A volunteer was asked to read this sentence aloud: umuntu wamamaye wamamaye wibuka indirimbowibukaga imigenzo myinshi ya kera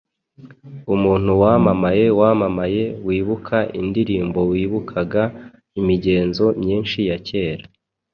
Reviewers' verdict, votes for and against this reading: accepted, 2, 0